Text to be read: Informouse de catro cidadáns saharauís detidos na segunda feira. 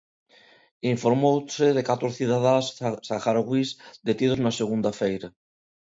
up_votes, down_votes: 0, 2